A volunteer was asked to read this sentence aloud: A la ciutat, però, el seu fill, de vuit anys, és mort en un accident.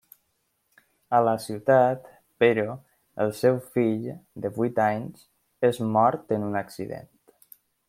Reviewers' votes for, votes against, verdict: 1, 2, rejected